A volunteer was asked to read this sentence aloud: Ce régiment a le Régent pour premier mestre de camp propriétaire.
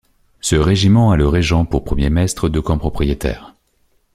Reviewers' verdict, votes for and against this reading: accepted, 2, 0